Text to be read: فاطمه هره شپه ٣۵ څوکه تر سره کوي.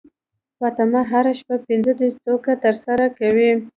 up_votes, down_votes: 0, 2